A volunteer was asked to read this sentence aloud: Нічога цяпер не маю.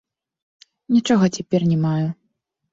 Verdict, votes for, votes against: accepted, 2, 1